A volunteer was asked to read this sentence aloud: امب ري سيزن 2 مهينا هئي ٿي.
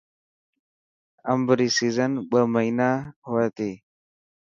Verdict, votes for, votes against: rejected, 0, 2